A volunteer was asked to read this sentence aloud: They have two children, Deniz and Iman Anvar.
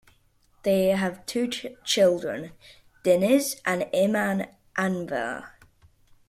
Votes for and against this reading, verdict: 0, 2, rejected